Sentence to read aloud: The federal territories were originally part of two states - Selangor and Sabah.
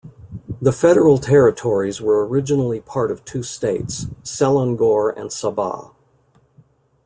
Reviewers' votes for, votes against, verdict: 2, 0, accepted